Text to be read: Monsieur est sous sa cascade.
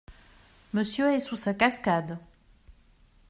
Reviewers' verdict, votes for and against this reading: accepted, 2, 0